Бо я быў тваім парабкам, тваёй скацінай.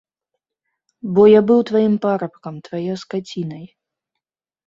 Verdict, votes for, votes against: accepted, 3, 1